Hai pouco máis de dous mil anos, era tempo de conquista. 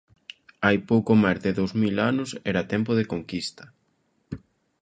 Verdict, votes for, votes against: accepted, 2, 1